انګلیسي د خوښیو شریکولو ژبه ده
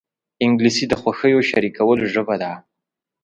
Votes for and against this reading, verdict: 2, 0, accepted